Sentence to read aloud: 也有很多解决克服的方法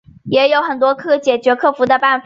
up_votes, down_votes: 2, 0